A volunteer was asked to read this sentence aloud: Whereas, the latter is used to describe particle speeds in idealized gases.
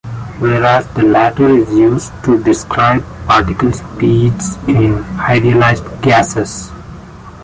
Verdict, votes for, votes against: accepted, 2, 0